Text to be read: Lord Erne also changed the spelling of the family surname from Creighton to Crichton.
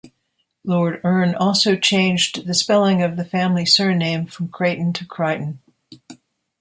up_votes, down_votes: 1, 2